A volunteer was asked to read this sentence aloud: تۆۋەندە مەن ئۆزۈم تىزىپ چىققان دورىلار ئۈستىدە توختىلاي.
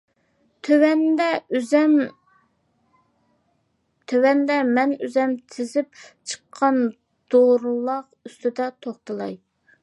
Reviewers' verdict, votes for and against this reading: rejected, 0, 2